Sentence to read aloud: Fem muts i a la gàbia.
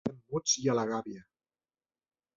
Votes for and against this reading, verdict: 0, 2, rejected